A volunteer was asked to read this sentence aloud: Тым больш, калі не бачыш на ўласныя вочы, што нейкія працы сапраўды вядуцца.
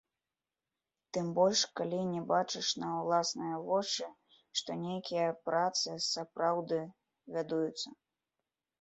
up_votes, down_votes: 0, 2